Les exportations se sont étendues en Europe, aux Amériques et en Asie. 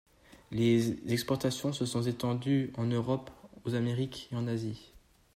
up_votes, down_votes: 1, 2